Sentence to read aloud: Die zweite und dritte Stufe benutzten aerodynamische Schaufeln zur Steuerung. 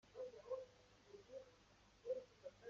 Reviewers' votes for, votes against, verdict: 0, 2, rejected